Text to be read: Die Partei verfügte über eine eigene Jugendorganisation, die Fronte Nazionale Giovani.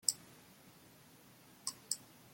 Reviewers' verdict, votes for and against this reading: rejected, 0, 2